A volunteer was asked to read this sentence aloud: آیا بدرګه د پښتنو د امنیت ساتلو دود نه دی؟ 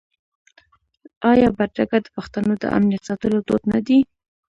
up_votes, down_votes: 2, 0